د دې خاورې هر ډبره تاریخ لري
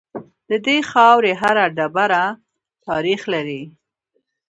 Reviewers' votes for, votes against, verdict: 1, 2, rejected